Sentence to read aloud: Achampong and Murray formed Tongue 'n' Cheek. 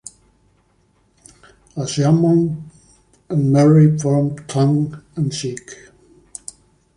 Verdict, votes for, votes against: rejected, 1, 2